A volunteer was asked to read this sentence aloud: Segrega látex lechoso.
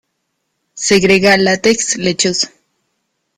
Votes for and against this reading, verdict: 2, 0, accepted